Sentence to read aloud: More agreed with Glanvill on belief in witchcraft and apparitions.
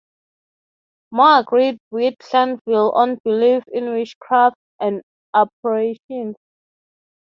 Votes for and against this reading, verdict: 3, 0, accepted